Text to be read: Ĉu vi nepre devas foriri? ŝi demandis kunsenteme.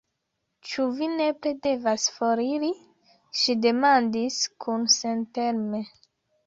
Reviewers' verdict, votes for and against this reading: accepted, 2, 0